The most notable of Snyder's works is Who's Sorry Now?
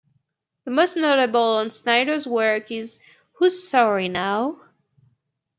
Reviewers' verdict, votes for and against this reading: rejected, 0, 2